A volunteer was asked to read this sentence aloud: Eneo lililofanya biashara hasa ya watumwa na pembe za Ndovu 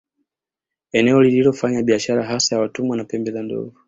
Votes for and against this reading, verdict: 2, 0, accepted